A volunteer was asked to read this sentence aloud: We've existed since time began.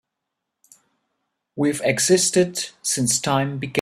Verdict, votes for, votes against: rejected, 1, 4